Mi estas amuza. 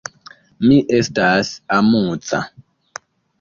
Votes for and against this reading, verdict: 2, 0, accepted